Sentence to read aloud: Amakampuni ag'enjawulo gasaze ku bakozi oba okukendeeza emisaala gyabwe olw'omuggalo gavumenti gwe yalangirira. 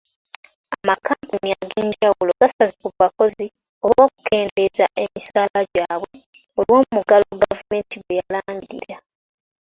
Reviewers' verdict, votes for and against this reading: accepted, 3, 1